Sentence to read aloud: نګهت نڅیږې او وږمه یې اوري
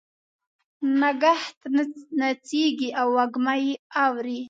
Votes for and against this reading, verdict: 2, 1, accepted